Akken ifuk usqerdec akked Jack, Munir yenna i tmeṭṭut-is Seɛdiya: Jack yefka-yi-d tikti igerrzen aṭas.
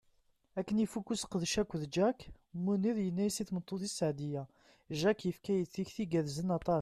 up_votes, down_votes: 1, 2